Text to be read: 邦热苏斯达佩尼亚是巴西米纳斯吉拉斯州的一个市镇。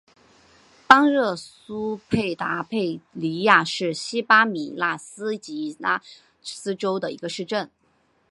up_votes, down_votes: 2, 1